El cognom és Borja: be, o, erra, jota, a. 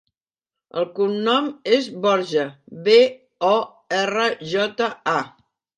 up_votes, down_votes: 3, 0